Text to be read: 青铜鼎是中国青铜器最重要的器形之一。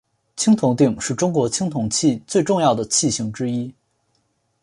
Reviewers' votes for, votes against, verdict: 2, 0, accepted